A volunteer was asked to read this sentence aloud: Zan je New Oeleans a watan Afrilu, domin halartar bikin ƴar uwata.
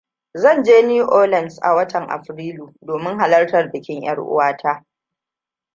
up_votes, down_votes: 2, 0